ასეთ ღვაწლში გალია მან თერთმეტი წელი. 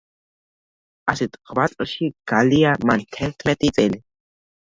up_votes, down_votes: 1, 2